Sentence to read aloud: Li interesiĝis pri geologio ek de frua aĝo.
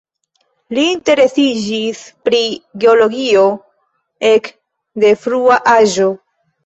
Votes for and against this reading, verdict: 1, 2, rejected